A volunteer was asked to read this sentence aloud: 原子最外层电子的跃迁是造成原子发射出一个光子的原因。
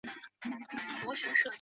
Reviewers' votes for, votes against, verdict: 3, 0, accepted